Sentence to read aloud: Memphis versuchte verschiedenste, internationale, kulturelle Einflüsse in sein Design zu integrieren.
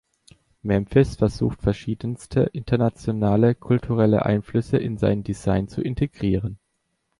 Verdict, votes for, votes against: accepted, 2, 0